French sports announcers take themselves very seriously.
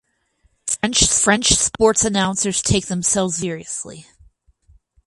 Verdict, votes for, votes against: rejected, 0, 4